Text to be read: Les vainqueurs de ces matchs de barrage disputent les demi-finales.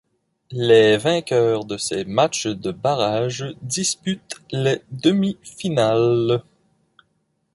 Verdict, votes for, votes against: rejected, 0, 2